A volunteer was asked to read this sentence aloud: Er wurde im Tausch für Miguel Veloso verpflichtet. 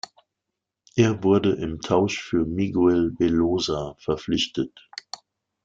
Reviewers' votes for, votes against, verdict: 0, 2, rejected